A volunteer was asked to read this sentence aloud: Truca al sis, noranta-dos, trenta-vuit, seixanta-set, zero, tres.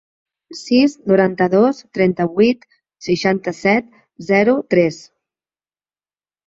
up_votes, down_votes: 1, 2